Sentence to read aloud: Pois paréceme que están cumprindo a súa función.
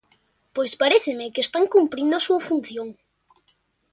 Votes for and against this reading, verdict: 3, 0, accepted